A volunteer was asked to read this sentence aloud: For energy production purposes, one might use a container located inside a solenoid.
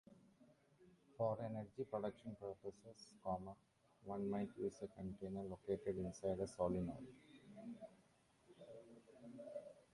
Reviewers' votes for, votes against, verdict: 0, 2, rejected